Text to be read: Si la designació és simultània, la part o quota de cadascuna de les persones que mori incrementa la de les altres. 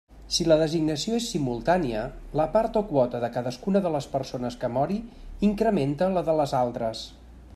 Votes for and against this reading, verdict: 3, 0, accepted